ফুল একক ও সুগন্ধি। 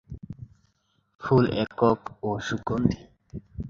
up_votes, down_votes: 2, 0